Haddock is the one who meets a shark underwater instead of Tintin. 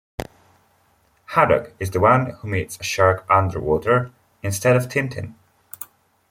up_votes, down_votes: 2, 0